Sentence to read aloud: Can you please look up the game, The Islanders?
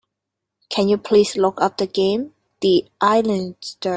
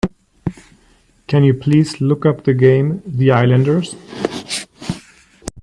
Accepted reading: second